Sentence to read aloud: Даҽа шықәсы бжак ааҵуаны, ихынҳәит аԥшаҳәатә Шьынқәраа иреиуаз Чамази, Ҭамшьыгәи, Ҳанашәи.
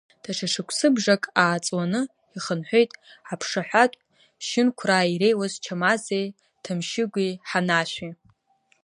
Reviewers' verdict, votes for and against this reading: rejected, 1, 2